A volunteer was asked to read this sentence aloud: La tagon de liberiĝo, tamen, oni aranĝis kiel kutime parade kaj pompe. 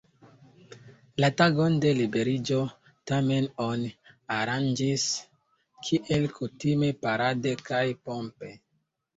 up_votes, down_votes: 0, 2